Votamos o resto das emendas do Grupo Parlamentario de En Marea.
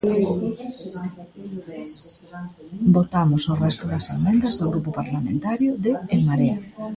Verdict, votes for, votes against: rejected, 1, 2